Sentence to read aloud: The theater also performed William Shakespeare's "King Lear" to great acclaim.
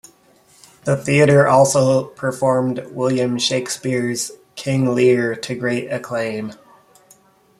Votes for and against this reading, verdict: 2, 0, accepted